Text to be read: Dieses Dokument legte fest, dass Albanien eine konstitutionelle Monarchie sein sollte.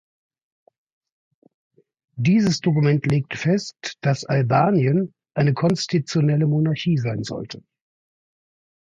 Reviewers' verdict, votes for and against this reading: rejected, 0, 2